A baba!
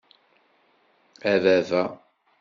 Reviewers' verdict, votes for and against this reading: accepted, 2, 0